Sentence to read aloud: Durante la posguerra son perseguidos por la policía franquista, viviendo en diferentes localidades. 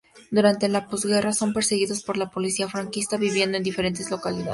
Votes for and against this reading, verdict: 2, 0, accepted